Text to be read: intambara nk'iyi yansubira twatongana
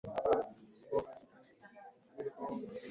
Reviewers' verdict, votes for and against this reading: rejected, 1, 2